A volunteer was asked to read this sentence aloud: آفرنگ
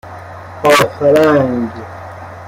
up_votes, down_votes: 1, 2